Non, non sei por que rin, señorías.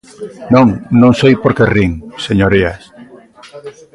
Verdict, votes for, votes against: rejected, 0, 2